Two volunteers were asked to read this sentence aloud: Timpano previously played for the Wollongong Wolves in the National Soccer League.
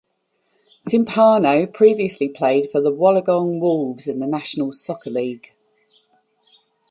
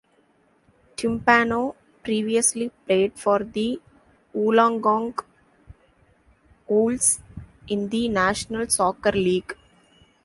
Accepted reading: first